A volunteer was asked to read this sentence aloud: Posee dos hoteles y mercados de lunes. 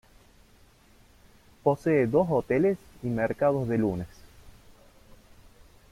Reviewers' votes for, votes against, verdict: 0, 2, rejected